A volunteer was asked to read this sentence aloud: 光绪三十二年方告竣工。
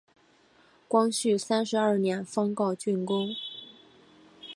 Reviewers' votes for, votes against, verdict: 3, 1, accepted